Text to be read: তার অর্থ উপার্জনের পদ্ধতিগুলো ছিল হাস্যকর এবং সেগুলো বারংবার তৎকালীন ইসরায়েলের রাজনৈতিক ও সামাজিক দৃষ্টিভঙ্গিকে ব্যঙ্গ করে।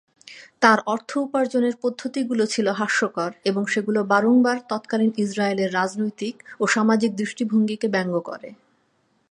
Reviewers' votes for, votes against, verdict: 11, 0, accepted